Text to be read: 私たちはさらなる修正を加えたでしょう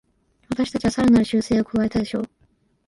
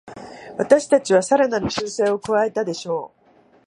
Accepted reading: second